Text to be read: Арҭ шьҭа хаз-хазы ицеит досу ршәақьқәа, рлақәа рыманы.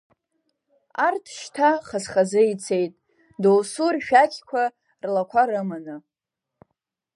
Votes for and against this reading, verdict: 2, 3, rejected